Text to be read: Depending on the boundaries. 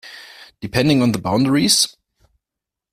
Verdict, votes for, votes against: rejected, 1, 2